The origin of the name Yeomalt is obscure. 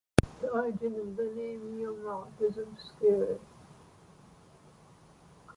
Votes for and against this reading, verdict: 2, 1, accepted